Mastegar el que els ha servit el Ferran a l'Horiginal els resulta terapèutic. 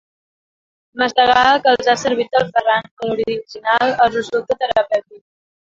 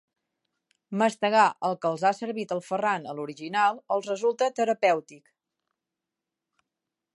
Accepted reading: second